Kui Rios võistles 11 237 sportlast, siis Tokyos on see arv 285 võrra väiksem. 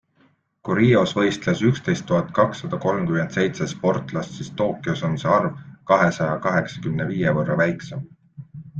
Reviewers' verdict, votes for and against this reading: rejected, 0, 2